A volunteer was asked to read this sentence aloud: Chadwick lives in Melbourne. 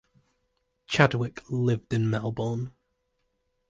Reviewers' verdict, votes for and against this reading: rejected, 0, 2